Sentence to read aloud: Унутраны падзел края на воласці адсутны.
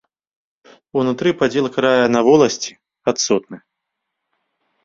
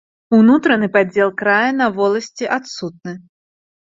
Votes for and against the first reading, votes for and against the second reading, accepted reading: 1, 2, 2, 0, second